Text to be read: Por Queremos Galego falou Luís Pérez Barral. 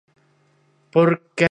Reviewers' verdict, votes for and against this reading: rejected, 0, 2